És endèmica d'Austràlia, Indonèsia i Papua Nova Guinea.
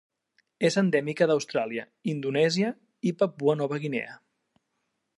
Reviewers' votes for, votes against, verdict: 3, 0, accepted